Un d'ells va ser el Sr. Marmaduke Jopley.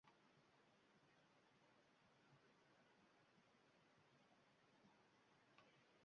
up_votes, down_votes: 0, 2